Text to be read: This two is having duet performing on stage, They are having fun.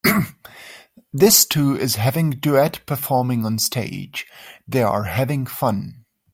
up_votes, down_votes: 2, 0